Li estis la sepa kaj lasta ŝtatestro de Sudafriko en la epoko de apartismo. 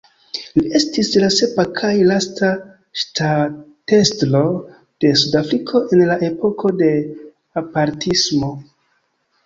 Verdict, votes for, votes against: accepted, 2, 0